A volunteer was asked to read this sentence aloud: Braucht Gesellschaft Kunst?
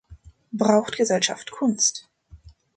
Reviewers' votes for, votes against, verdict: 2, 0, accepted